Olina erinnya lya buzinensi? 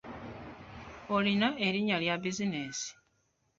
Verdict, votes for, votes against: accepted, 2, 1